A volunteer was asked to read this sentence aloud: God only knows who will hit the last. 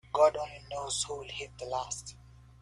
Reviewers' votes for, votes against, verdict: 2, 0, accepted